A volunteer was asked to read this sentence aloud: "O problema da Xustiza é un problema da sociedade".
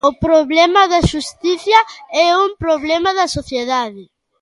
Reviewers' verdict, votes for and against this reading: rejected, 0, 2